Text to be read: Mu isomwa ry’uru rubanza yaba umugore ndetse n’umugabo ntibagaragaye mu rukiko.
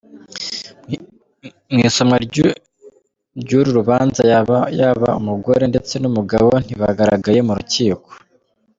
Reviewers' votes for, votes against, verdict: 2, 3, rejected